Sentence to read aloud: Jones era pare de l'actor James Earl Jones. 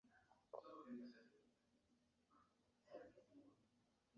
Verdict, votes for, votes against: rejected, 0, 2